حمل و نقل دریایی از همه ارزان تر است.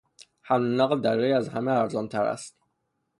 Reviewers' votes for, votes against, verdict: 3, 0, accepted